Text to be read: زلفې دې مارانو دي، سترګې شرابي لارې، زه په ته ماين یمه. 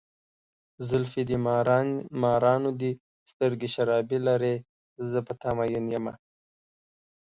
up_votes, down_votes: 1, 2